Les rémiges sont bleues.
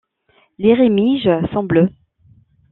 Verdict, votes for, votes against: accepted, 2, 0